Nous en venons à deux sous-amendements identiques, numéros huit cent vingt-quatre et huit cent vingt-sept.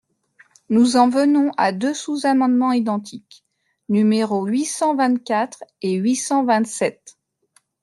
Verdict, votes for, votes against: accepted, 2, 0